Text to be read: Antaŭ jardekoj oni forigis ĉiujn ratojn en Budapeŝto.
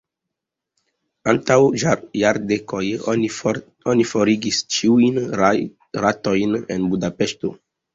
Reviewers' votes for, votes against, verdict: 1, 2, rejected